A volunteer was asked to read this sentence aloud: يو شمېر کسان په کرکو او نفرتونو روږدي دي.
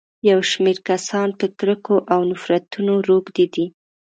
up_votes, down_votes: 2, 0